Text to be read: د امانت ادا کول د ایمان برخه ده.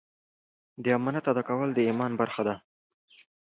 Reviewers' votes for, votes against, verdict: 2, 0, accepted